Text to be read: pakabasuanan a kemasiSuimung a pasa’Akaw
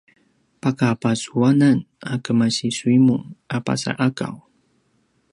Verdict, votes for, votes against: rejected, 0, 2